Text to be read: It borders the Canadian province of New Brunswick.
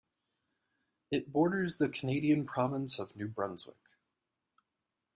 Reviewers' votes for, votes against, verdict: 2, 0, accepted